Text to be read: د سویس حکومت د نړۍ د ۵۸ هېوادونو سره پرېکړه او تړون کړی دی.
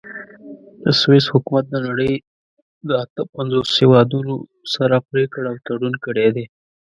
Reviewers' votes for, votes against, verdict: 0, 2, rejected